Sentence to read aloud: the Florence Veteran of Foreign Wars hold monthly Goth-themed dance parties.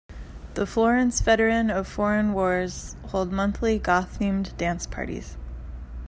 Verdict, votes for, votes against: rejected, 0, 2